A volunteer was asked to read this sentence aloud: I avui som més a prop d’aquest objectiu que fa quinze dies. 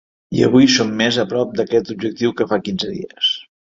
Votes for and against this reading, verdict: 4, 0, accepted